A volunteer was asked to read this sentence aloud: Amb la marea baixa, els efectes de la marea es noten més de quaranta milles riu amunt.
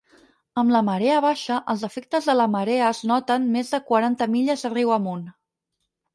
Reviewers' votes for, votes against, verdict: 0, 4, rejected